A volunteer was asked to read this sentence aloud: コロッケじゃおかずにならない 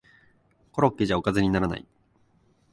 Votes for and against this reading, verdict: 8, 0, accepted